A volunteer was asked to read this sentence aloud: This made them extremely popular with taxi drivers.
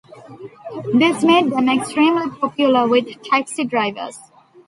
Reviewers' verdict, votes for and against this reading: accepted, 2, 0